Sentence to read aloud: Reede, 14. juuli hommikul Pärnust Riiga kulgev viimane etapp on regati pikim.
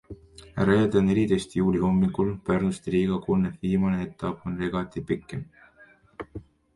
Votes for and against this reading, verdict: 0, 2, rejected